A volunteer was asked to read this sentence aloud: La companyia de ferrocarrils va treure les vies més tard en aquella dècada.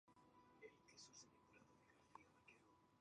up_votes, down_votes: 0, 2